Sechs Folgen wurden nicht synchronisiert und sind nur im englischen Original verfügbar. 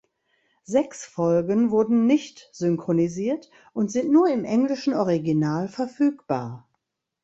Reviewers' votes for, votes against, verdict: 1, 2, rejected